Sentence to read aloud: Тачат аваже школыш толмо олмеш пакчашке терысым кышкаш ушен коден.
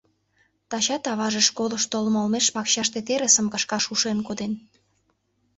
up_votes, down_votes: 1, 2